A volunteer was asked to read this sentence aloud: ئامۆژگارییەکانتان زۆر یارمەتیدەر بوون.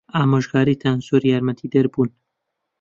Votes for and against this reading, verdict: 0, 2, rejected